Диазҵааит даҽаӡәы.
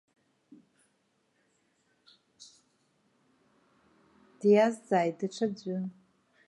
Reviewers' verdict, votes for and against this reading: accepted, 2, 0